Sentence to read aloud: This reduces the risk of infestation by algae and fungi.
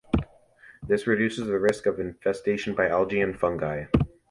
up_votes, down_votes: 2, 0